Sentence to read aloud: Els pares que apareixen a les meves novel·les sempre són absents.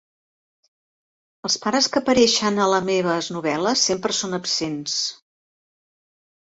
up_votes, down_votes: 1, 2